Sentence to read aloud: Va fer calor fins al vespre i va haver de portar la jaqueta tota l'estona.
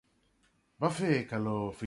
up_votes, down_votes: 0, 2